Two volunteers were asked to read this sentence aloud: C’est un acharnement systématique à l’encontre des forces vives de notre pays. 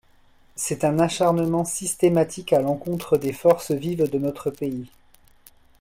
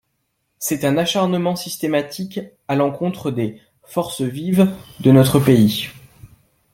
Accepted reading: first